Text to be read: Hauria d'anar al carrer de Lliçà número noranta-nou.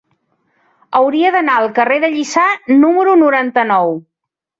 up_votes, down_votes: 3, 0